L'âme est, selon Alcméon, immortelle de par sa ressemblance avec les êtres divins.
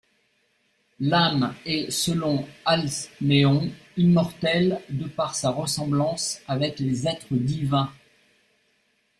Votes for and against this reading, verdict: 0, 2, rejected